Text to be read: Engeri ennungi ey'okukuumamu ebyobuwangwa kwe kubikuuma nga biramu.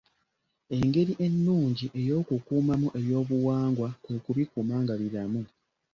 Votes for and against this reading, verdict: 2, 0, accepted